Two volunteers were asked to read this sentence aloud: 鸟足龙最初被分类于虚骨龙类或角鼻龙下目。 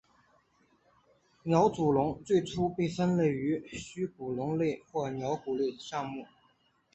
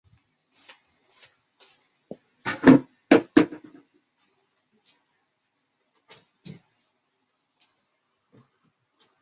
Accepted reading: first